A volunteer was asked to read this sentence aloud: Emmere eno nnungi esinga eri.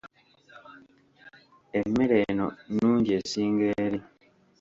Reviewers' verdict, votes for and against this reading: rejected, 0, 2